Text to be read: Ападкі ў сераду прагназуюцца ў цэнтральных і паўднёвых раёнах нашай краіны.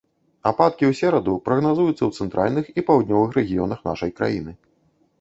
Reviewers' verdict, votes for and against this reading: rejected, 0, 2